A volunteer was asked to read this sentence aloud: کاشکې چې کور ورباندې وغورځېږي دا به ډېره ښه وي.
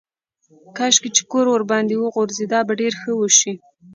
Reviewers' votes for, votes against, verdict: 2, 0, accepted